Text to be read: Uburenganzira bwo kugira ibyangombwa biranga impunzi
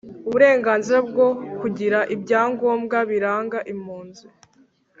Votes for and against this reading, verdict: 2, 0, accepted